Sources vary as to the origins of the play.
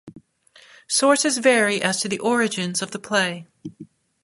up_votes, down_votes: 2, 0